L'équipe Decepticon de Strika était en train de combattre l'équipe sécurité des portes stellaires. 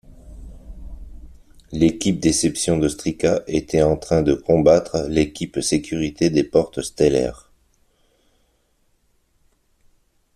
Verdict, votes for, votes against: rejected, 1, 2